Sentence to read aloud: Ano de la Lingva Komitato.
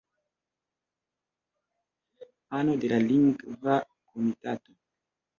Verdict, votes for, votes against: rejected, 1, 2